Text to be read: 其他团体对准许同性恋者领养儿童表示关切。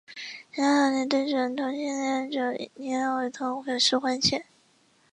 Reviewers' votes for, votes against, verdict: 3, 4, rejected